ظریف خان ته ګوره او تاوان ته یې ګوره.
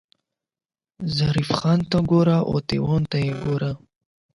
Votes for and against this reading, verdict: 0, 8, rejected